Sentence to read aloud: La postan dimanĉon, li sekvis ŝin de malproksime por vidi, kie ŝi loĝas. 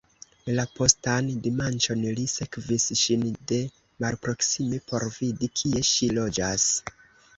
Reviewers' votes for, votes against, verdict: 0, 2, rejected